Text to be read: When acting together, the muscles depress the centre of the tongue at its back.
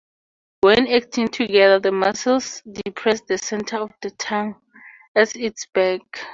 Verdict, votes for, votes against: rejected, 0, 2